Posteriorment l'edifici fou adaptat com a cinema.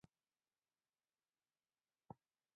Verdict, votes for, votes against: rejected, 0, 2